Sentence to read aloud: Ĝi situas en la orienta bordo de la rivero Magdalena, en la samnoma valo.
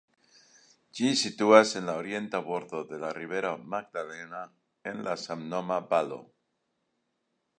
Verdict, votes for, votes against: rejected, 1, 2